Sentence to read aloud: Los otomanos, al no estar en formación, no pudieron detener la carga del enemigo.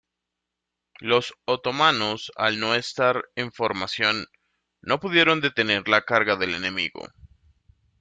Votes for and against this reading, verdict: 2, 0, accepted